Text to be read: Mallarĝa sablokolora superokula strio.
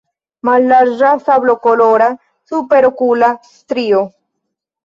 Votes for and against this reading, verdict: 2, 0, accepted